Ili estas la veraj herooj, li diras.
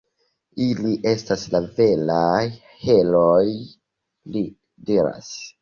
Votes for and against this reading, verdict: 1, 2, rejected